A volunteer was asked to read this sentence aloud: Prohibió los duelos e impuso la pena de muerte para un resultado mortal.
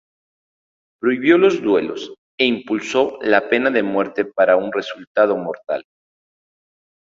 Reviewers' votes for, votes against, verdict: 2, 2, rejected